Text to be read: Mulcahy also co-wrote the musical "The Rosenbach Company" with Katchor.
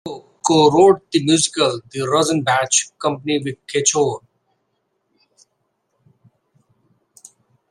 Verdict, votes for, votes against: rejected, 0, 2